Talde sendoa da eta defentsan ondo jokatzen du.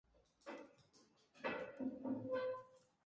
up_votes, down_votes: 0, 2